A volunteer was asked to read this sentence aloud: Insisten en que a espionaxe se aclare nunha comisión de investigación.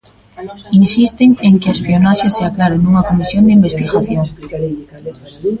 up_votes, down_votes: 1, 2